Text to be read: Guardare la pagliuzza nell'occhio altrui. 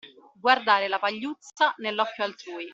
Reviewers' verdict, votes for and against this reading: accepted, 2, 0